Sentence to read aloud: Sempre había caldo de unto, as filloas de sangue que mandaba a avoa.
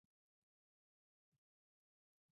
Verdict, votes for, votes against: rejected, 0, 2